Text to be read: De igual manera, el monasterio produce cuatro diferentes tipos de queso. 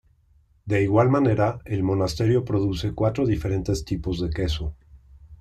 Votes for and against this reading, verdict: 2, 0, accepted